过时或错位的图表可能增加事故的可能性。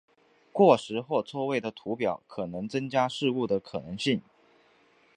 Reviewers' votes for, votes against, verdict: 9, 1, accepted